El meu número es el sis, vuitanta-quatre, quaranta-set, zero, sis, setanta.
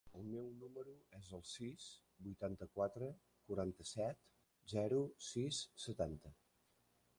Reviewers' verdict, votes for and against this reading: rejected, 1, 2